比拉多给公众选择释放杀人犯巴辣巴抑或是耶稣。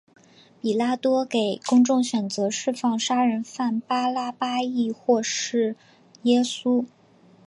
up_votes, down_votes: 2, 1